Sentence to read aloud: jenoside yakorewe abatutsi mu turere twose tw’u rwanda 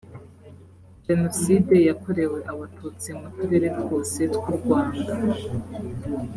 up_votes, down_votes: 4, 1